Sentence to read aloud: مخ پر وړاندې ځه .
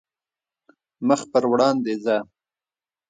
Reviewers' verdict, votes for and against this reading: accepted, 2, 0